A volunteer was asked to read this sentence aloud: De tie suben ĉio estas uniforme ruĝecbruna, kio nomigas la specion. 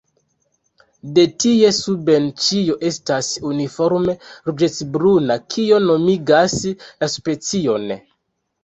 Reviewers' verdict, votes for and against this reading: accepted, 2, 1